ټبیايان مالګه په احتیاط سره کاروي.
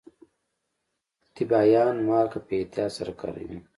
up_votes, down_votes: 2, 0